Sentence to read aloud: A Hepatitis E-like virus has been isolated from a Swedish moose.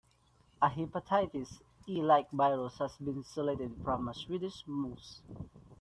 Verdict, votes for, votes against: rejected, 0, 2